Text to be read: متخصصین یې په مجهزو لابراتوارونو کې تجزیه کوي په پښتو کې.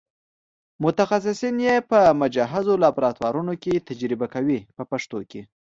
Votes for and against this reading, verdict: 2, 0, accepted